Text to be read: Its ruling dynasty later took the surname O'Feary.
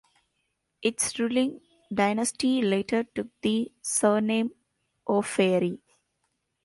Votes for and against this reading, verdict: 2, 0, accepted